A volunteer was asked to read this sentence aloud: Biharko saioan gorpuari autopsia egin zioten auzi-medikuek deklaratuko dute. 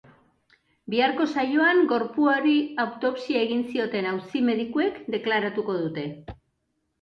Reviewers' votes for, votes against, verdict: 2, 0, accepted